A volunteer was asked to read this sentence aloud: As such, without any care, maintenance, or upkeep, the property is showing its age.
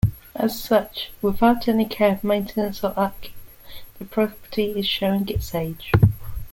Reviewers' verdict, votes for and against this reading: accepted, 2, 0